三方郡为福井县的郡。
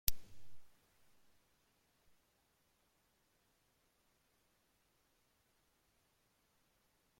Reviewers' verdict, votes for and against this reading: rejected, 0, 2